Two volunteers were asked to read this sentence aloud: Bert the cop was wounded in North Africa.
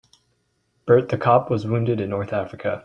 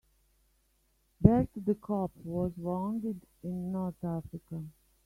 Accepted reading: first